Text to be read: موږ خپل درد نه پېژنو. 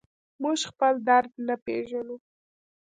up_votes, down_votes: 0, 2